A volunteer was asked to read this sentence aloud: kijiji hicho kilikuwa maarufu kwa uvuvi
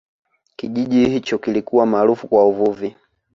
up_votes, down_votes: 2, 1